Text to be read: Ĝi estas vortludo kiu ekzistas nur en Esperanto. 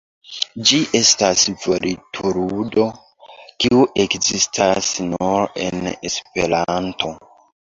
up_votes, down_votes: 1, 2